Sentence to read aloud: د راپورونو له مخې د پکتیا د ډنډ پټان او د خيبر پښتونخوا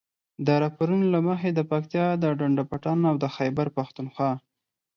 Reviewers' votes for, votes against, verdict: 4, 0, accepted